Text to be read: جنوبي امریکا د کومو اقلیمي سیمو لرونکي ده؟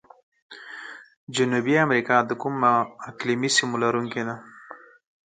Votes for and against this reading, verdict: 2, 4, rejected